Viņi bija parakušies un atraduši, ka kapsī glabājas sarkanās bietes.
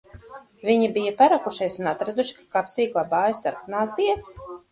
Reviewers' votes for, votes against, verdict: 2, 4, rejected